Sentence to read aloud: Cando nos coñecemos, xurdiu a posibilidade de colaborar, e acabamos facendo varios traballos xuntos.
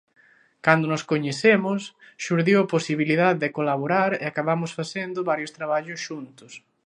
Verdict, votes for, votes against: accepted, 2, 0